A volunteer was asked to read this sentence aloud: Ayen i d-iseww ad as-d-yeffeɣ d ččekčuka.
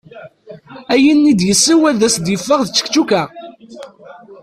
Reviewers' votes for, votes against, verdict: 1, 2, rejected